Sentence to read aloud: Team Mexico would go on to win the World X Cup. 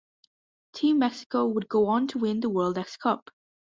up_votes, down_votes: 1, 2